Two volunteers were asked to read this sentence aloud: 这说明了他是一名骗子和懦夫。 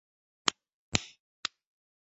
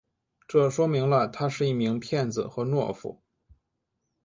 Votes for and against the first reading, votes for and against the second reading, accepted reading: 3, 7, 3, 0, second